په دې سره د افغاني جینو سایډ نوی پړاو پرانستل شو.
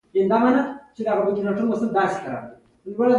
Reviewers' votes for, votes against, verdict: 1, 2, rejected